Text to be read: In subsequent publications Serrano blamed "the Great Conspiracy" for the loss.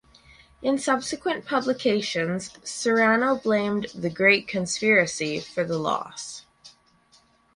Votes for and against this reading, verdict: 2, 2, rejected